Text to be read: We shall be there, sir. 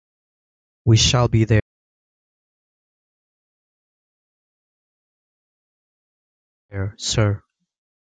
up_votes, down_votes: 1, 2